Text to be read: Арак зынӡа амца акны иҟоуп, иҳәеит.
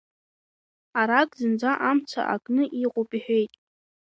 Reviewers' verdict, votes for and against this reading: accepted, 2, 0